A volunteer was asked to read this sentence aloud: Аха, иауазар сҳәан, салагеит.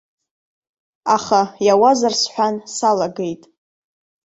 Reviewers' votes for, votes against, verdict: 2, 0, accepted